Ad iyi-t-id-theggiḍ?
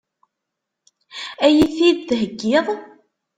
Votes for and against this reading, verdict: 4, 0, accepted